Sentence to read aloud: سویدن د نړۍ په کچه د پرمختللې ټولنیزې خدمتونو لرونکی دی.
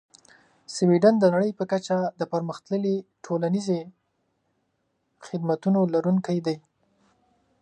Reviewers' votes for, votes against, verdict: 2, 0, accepted